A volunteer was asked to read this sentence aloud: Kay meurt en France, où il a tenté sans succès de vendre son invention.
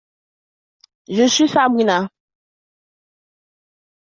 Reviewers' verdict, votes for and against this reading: rejected, 0, 2